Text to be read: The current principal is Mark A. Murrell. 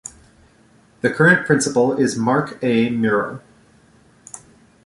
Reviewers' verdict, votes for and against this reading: accepted, 2, 0